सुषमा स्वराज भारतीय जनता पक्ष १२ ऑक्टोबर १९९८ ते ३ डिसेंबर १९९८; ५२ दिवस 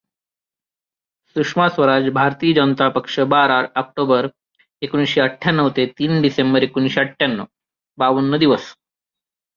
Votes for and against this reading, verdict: 0, 2, rejected